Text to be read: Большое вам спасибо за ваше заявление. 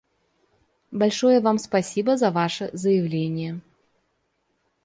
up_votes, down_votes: 2, 0